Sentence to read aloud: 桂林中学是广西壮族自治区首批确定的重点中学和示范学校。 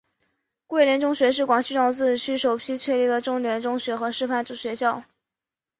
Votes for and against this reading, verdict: 4, 0, accepted